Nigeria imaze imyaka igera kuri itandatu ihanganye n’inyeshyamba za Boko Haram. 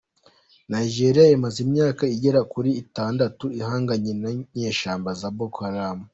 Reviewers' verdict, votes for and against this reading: accepted, 2, 1